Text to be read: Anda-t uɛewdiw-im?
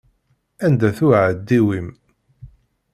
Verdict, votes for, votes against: rejected, 1, 2